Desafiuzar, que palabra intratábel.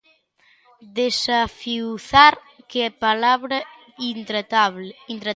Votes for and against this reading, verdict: 0, 2, rejected